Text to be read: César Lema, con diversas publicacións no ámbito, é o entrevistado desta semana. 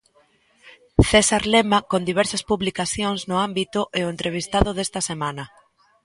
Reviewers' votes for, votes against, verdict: 2, 0, accepted